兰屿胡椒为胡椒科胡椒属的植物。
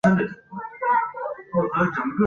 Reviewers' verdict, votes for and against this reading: rejected, 1, 2